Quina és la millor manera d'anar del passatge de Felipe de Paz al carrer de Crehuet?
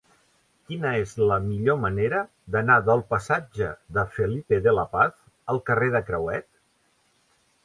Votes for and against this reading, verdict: 0, 2, rejected